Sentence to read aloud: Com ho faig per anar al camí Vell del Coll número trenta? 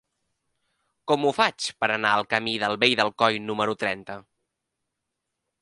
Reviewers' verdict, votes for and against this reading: rejected, 1, 2